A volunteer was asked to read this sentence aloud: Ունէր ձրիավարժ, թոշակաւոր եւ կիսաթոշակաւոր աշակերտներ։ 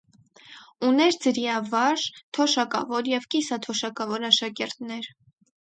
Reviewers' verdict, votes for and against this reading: accepted, 4, 0